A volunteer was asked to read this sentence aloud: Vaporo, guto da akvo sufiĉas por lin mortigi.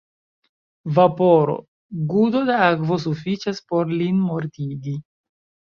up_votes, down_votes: 0, 2